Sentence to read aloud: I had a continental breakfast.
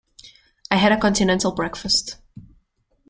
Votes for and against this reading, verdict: 2, 0, accepted